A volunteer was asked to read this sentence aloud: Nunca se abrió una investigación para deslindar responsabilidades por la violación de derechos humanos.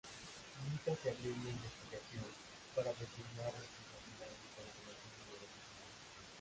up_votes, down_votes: 0, 2